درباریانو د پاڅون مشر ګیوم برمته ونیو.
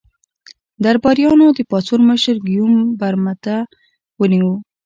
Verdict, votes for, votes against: accepted, 2, 0